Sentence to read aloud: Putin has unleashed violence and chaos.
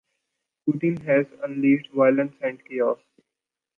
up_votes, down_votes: 2, 0